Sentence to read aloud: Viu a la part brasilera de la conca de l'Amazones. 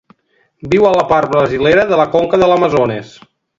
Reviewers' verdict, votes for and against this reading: accepted, 2, 0